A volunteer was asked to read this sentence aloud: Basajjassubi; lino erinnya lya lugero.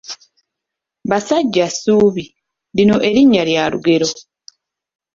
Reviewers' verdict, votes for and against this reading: accepted, 2, 1